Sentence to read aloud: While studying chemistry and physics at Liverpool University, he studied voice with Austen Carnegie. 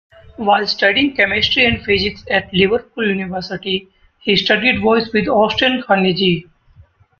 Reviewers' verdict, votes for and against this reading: rejected, 2, 3